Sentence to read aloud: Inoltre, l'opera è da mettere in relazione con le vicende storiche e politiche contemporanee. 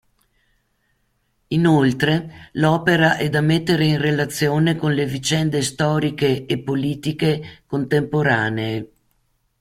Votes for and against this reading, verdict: 2, 0, accepted